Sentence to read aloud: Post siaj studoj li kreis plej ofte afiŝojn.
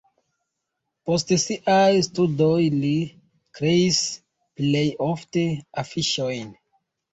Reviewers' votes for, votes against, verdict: 2, 0, accepted